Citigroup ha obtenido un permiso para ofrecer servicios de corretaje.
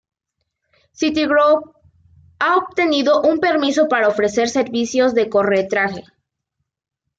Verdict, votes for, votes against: rejected, 0, 2